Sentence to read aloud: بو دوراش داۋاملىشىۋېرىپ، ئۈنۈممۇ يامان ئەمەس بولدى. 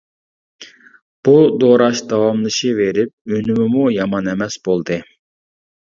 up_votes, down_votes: 0, 2